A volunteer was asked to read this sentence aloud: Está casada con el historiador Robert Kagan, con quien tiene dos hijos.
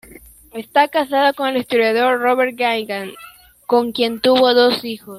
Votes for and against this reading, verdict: 0, 2, rejected